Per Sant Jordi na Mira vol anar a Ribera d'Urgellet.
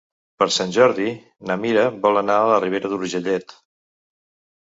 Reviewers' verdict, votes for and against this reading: rejected, 1, 2